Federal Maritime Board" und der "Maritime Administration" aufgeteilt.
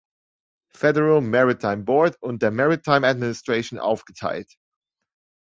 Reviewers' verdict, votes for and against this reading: accepted, 2, 0